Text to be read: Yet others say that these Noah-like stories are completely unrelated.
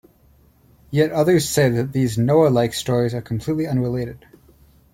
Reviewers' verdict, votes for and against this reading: rejected, 0, 2